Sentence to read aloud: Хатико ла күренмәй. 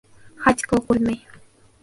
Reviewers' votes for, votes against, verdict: 0, 2, rejected